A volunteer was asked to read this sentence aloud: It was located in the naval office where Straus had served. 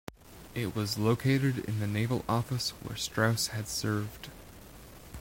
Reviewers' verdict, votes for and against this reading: accepted, 2, 0